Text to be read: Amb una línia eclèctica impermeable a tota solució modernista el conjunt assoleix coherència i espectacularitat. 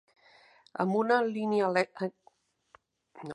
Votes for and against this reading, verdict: 0, 2, rejected